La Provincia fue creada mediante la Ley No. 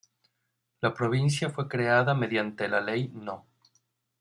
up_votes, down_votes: 0, 2